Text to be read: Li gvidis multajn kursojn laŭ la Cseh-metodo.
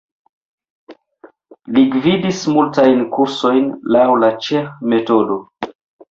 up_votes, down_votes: 1, 2